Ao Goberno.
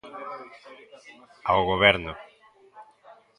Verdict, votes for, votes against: accepted, 2, 0